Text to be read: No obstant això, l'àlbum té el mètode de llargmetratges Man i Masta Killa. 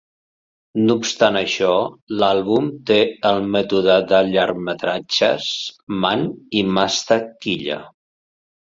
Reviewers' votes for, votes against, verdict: 2, 0, accepted